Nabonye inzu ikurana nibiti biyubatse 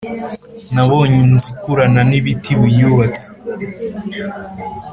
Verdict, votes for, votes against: accepted, 4, 0